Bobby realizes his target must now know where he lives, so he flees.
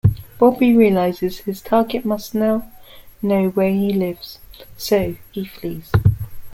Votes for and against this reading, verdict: 0, 2, rejected